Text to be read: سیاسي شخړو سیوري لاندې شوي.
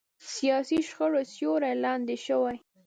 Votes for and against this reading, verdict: 1, 2, rejected